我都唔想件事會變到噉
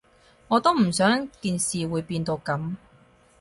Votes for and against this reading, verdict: 4, 0, accepted